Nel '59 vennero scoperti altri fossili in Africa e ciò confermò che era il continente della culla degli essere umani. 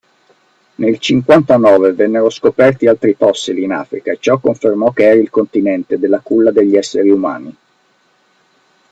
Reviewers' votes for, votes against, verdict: 0, 2, rejected